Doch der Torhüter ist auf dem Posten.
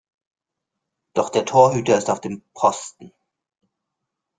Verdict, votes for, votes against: accepted, 2, 0